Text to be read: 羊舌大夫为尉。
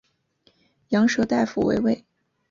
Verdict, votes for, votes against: rejected, 0, 2